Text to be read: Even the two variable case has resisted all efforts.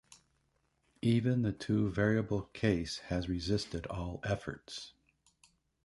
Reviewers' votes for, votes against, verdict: 2, 0, accepted